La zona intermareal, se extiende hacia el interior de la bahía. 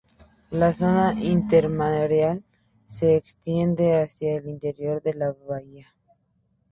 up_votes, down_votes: 2, 0